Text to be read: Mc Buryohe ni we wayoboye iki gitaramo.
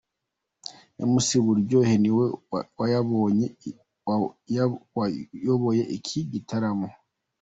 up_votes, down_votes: 0, 2